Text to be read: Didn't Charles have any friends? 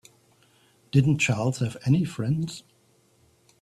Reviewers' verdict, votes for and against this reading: accepted, 2, 0